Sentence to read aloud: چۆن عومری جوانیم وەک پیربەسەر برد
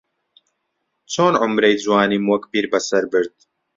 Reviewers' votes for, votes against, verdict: 1, 2, rejected